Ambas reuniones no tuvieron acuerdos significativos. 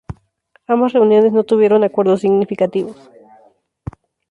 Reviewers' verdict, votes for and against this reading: rejected, 0, 2